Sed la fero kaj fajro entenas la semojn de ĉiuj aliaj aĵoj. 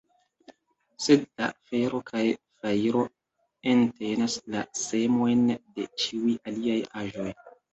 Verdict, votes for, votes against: accepted, 2, 1